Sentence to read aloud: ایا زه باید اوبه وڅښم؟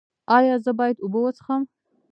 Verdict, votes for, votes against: rejected, 0, 2